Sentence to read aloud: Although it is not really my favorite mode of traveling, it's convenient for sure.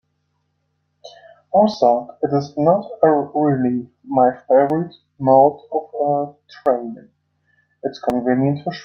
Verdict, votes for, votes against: rejected, 0, 2